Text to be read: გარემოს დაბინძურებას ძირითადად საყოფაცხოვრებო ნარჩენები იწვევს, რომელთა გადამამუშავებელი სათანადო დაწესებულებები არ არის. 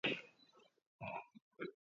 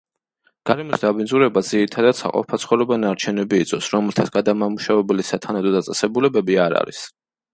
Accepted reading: second